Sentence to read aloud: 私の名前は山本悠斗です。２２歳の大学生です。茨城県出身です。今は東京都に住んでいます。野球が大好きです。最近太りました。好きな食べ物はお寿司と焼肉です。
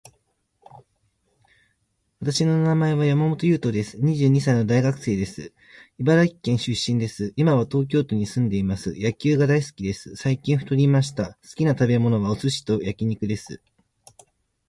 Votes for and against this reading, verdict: 0, 2, rejected